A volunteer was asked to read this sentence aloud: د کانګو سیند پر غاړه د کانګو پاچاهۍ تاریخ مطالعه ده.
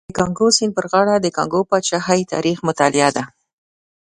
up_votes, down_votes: 2, 0